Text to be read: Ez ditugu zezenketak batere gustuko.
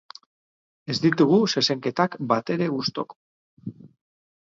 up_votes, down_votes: 2, 6